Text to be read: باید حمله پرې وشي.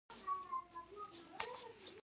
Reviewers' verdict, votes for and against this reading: rejected, 1, 2